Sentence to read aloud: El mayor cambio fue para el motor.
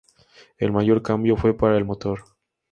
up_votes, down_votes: 2, 0